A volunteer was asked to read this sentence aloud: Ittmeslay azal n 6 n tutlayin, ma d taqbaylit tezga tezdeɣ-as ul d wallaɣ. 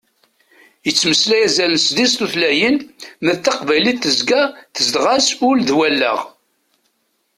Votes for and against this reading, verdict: 0, 2, rejected